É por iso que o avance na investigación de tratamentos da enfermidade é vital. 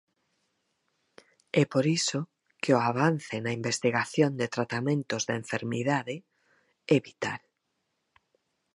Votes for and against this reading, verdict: 4, 0, accepted